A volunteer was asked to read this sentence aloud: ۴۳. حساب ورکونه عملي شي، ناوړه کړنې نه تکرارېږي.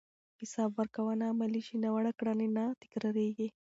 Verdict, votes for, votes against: rejected, 0, 2